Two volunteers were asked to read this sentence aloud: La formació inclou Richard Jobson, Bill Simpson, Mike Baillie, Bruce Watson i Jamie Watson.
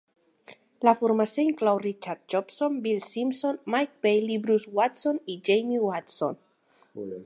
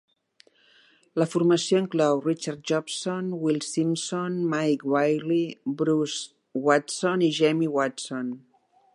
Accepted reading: first